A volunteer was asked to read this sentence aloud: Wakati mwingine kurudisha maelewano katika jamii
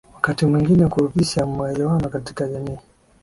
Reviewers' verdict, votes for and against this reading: accepted, 2, 1